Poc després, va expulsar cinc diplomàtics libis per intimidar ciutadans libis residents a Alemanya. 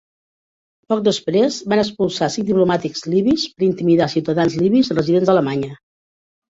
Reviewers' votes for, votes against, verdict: 0, 3, rejected